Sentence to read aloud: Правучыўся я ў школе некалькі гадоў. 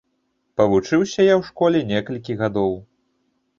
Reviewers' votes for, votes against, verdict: 1, 2, rejected